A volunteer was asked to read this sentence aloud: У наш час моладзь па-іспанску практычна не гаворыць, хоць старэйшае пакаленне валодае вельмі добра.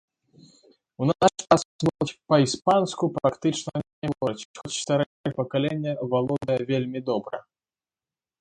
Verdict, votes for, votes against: rejected, 0, 2